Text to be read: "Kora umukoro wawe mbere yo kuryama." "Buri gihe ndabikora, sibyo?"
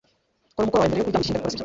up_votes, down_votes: 0, 2